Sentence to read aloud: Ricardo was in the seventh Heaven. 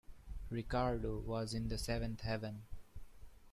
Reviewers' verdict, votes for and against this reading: accepted, 2, 0